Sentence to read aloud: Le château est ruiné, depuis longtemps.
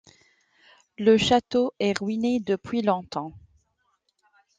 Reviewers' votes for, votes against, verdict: 2, 0, accepted